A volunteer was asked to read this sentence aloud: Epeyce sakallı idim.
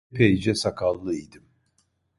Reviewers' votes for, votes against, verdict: 1, 2, rejected